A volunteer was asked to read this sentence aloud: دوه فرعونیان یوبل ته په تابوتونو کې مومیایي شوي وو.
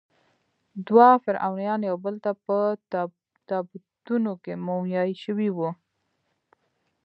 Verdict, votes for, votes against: rejected, 0, 2